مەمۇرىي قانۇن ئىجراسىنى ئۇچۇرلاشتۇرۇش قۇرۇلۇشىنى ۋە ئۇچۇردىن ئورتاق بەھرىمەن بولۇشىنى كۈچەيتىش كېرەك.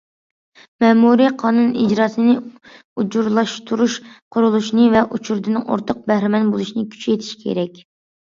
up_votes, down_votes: 2, 1